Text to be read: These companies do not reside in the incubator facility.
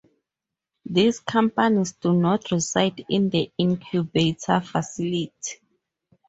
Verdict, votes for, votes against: rejected, 0, 4